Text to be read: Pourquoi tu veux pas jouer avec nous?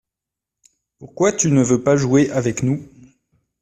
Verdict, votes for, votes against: rejected, 0, 2